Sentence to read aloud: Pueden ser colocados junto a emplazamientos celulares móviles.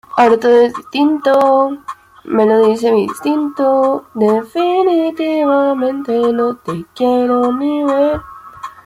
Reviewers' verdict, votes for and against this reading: rejected, 0, 2